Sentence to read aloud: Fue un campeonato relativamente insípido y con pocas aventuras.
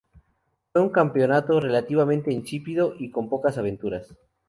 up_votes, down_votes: 2, 0